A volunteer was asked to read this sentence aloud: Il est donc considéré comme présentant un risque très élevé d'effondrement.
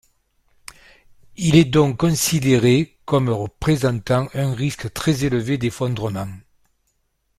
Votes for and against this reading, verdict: 2, 1, accepted